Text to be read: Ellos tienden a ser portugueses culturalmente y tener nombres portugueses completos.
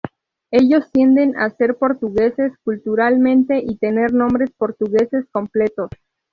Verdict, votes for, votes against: accepted, 2, 0